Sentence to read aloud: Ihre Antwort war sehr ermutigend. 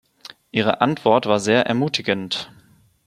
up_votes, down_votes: 2, 0